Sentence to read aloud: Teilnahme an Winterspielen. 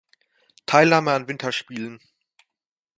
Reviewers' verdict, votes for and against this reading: accepted, 2, 0